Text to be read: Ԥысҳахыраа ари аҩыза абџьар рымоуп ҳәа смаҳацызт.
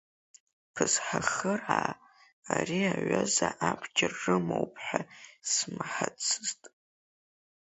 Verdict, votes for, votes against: rejected, 1, 2